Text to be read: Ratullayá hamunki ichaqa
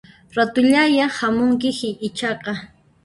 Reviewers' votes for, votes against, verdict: 1, 2, rejected